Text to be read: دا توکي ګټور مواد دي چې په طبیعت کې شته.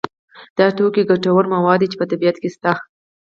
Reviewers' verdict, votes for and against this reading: accepted, 4, 0